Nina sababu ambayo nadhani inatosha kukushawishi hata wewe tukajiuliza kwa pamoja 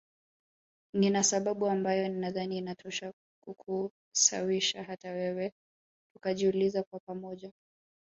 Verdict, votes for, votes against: accepted, 4, 0